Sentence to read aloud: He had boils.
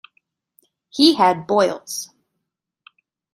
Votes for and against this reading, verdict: 2, 0, accepted